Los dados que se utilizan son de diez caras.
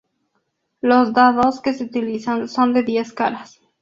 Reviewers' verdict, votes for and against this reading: accepted, 4, 0